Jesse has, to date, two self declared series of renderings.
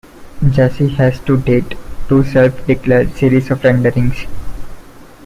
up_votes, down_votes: 1, 2